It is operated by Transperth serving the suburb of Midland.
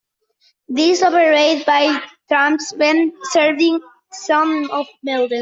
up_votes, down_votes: 0, 2